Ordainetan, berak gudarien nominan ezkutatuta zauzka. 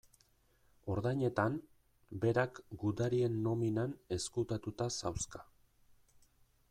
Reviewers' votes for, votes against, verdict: 2, 0, accepted